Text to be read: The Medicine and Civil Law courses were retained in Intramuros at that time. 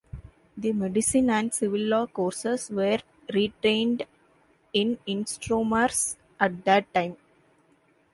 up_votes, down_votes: 1, 2